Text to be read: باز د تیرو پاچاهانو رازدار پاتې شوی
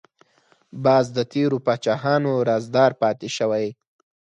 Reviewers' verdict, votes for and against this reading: accepted, 4, 0